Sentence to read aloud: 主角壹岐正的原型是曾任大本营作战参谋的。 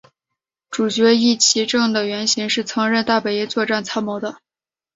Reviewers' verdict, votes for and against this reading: accepted, 2, 1